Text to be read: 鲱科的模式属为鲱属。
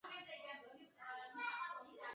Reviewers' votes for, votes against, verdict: 1, 6, rejected